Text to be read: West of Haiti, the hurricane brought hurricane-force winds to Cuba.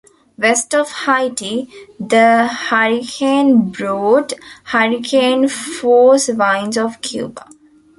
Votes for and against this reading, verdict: 0, 2, rejected